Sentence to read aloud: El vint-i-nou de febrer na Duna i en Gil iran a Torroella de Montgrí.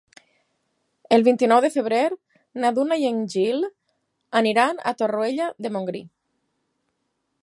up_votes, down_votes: 0, 4